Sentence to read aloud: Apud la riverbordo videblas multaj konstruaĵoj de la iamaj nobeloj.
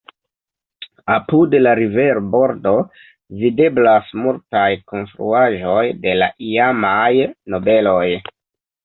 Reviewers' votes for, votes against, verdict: 2, 0, accepted